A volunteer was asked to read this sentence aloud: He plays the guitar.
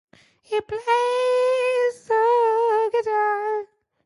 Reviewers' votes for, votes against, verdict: 2, 0, accepted